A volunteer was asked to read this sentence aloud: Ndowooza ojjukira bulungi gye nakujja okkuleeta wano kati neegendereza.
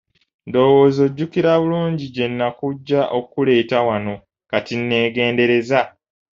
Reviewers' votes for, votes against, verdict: 0, 2, rejected